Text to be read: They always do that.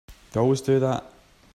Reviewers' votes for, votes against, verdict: 2, 0, accepted